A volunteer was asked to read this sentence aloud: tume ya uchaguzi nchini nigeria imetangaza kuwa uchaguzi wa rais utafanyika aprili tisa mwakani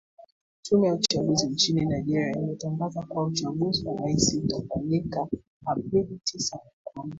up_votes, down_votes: 1, 2